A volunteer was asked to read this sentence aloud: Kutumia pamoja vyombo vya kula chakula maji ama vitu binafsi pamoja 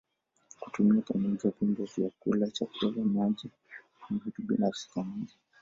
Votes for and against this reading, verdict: 2, 1, accepted